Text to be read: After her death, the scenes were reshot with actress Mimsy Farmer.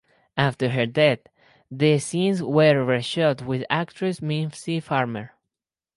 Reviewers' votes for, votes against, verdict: 4, 0, accepted